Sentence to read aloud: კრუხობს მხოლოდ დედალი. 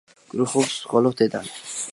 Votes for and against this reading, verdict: 1, 2, rejected